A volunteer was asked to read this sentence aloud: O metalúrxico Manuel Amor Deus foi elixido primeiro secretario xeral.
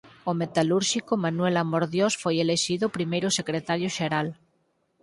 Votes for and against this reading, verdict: 0, 4, rejected